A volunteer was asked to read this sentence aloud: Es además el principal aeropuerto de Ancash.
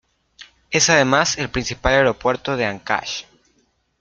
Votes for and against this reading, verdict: 2, 0, accepted